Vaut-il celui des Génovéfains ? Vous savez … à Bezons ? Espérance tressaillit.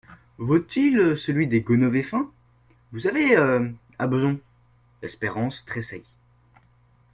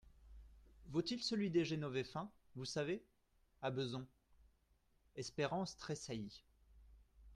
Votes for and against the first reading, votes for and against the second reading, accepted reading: 0, 2, 2, 0, second